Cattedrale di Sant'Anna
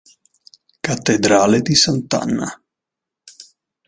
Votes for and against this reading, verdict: 2, 0, accepted